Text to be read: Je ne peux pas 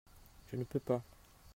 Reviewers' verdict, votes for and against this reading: accepted, 2, 0